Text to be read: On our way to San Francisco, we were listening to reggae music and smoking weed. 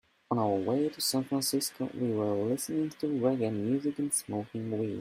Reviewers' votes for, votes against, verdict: 2, 0, accepted